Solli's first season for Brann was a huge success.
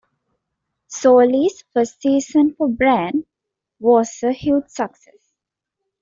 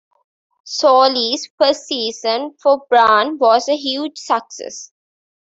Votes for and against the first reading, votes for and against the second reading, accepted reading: 0, 2, 2, 1, second